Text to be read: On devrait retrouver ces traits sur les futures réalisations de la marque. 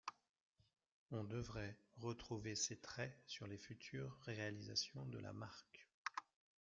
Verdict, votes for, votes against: rejected, 1, 2